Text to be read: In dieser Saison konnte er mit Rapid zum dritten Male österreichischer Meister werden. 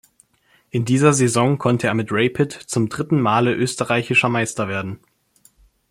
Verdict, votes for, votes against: rejected, 1, 2